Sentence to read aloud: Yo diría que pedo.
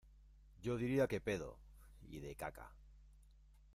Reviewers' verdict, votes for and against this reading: rejected, 1, 2